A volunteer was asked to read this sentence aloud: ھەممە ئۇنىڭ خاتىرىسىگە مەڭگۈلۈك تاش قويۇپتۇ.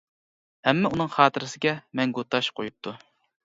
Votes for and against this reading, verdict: 1, 2, rejected